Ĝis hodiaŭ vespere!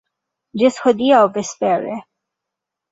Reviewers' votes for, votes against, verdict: 2, 1, accepted